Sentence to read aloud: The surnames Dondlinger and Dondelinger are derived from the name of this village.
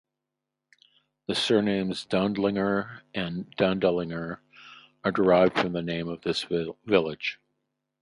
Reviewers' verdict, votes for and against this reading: rejected, 2, 2